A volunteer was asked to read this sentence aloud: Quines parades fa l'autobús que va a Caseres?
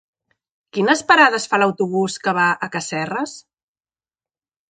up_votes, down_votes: 1, 2